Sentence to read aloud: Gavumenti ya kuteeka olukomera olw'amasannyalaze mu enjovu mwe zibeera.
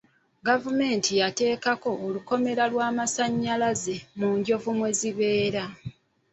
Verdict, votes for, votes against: rejected, 0, 2